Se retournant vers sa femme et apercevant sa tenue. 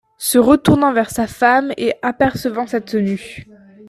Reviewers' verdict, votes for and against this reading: accepted, 2, 0